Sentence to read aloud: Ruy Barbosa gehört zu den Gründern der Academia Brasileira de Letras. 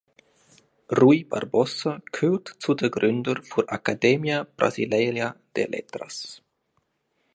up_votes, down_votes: 1, 2